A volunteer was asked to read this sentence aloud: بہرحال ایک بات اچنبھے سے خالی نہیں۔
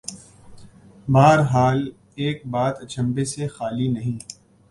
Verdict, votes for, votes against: accepted, 4, 0